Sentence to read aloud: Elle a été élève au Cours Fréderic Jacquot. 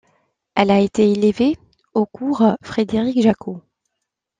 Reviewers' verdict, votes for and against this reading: rejected, 1, 2